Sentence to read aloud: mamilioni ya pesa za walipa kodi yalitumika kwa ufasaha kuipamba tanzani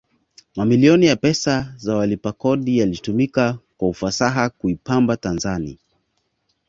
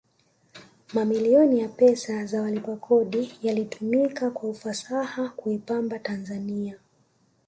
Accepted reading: first